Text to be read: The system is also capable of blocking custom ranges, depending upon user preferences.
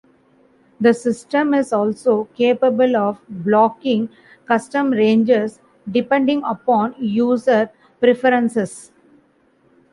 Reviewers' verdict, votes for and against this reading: accepted, 2, 0